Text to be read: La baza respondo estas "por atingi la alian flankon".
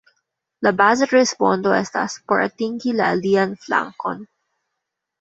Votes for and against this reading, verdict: 0, 2, rejected